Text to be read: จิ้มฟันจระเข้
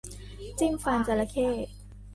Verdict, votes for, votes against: rejected, 0, 2